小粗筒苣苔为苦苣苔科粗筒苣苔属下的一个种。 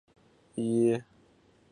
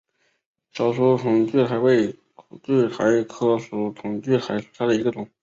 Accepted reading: second